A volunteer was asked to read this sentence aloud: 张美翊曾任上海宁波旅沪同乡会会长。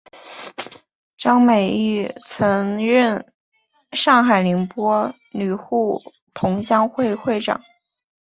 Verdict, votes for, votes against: accepted, 5, 0